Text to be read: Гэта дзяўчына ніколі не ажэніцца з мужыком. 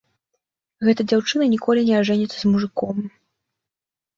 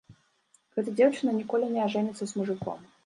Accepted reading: first